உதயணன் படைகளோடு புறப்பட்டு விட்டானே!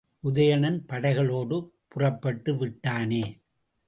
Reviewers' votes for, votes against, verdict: 2, 0, accepted